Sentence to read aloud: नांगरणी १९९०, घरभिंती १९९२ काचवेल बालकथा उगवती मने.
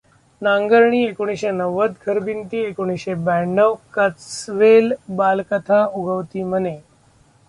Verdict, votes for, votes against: rejected, 0, 2